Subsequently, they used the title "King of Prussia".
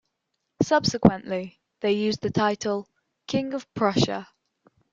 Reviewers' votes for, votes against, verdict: 1, 2, rejected